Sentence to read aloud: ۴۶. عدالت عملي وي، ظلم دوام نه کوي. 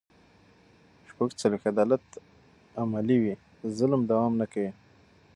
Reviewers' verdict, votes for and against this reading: rejected, 0, 2